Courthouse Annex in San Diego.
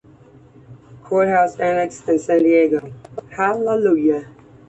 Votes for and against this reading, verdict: 0, 2, rejected